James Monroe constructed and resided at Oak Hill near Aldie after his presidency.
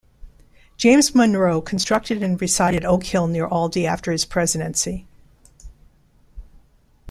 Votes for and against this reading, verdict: 0, 2, rejected